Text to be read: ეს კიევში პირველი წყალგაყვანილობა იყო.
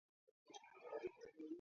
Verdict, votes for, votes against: rejected, 0, 2